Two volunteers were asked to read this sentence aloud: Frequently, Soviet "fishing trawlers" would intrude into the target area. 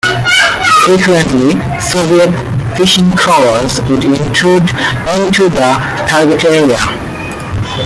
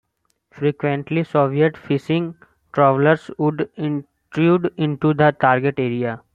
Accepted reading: second